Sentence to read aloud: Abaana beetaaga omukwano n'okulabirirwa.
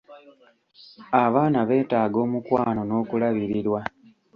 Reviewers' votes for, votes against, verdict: 2, 0, accepted